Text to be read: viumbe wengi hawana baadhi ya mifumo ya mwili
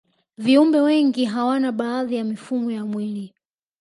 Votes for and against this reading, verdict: 2, 0, accepted